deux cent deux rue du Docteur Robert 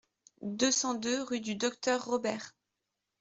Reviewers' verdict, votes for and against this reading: accepted, 2, 0